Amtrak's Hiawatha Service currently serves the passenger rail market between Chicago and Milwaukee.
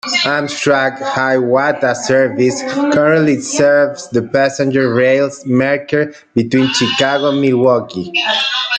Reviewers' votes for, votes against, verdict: 0, 2, rejected